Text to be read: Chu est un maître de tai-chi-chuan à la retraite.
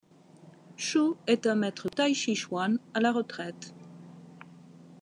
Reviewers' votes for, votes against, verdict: 1, 2, rejected